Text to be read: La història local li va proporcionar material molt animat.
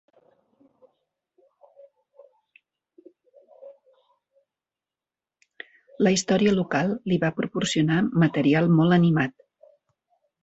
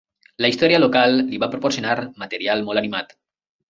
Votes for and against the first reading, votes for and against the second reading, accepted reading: 1, 2, 3, 0, second